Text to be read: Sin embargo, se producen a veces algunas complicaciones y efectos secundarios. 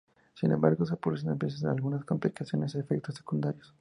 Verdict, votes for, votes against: accepted, 2, 0